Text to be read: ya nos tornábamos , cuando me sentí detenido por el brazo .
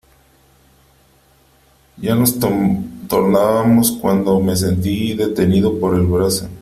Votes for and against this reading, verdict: 2, 1, accepted